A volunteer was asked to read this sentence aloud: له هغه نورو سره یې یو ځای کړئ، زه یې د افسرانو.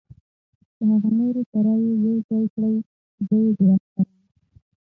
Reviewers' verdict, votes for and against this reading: accepted, 6, 0